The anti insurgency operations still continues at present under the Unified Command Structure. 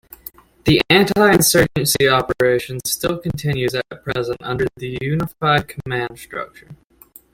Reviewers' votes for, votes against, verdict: 1, 2, rejected